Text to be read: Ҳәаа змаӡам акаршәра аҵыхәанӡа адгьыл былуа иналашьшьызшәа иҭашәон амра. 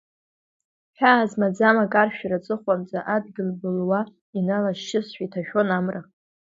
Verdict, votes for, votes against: accepted, 2, 1